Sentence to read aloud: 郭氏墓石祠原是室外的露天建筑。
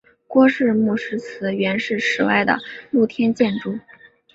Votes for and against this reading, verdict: 2, 0, accepted